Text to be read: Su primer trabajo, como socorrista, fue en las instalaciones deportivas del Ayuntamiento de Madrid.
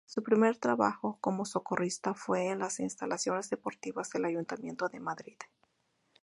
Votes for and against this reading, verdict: 2, 0, accepted